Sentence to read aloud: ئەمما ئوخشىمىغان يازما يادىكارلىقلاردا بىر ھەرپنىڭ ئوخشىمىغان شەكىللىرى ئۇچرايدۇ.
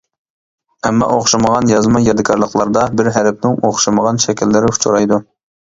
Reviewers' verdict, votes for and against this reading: accepted, 2, 0